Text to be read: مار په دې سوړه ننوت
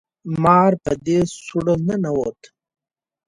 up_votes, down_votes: 2, 0